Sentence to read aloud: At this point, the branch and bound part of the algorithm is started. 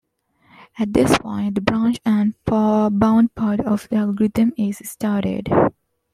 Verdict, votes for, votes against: accepted, 2, 1